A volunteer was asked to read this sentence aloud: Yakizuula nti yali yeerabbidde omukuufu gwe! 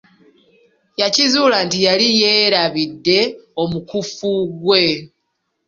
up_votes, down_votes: 0, 2